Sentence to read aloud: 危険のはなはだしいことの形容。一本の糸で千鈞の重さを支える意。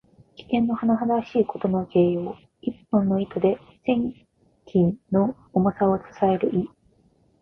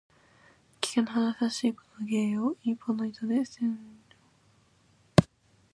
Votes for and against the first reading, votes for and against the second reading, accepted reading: 2, 0, 0, 2, first